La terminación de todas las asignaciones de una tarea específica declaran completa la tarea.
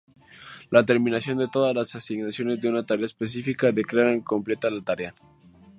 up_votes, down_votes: 2, 0